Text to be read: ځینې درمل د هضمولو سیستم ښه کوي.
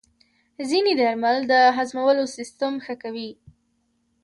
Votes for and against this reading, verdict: 2, 0, accepted